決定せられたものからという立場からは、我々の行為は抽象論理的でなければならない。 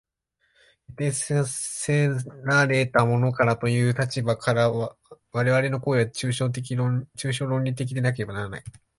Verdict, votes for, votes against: rejected, 1, 2